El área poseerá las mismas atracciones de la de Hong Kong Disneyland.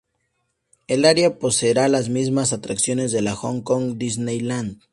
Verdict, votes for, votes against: rejected, 0, 2